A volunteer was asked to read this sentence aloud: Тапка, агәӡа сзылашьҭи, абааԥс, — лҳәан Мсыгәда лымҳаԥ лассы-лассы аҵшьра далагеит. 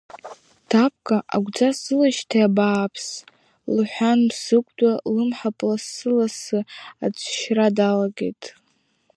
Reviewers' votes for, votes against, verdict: 2, 1, accepted